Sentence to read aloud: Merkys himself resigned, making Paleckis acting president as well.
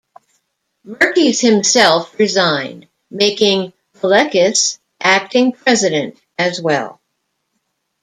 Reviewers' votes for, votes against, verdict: 2, 0, accepted